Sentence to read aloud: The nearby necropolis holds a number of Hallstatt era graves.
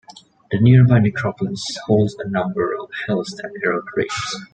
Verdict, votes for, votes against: accepted, 2, 0